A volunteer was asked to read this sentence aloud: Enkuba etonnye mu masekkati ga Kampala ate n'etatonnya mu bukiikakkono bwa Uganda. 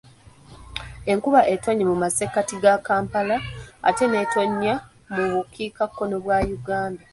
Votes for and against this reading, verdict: 2, 3, rejected